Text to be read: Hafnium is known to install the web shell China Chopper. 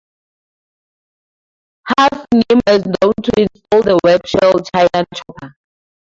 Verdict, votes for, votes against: rejected, 0, 2